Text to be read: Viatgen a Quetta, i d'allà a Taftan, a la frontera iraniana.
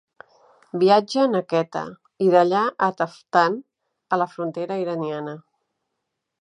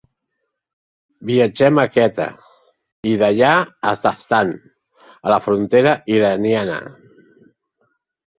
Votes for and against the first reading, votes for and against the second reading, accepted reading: 2, 0, 1, 3, first